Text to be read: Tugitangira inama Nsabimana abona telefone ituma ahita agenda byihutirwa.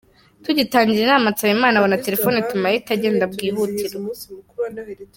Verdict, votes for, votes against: rejected, 0, 2